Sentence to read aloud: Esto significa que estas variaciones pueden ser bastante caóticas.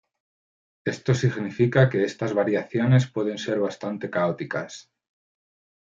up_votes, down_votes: 2, 0